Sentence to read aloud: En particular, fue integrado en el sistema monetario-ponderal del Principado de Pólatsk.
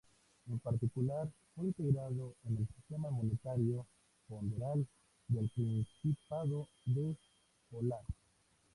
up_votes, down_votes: 2, 0